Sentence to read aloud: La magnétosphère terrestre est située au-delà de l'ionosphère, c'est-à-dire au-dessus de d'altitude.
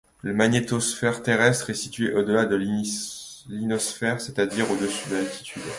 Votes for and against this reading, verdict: 1, 2, rejected